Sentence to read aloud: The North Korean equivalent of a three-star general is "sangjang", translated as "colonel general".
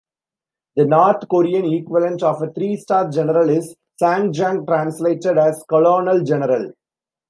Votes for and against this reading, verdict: 2, 0, accepted